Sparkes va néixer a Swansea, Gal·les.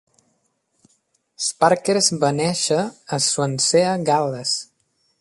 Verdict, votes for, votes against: rejected, 0, 2